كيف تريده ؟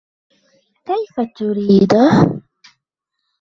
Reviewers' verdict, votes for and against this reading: accepted, 2, 0